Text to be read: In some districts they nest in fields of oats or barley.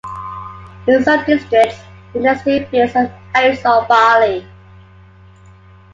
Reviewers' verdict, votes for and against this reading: accepted, 2, 0